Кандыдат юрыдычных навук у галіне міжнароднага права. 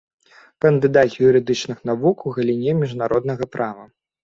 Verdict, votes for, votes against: accepted, 2, 0